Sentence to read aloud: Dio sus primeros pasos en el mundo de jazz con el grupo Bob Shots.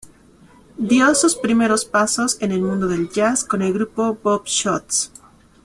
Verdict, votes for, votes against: rejected, 1, 2